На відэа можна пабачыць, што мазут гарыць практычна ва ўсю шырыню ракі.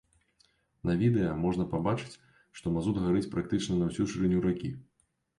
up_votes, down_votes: 1, 2